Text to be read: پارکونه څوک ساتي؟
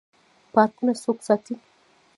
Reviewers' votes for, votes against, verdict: 0, 2, rejected